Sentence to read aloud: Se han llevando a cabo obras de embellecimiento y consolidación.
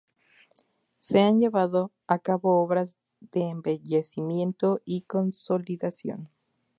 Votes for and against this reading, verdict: 4, 0, accepted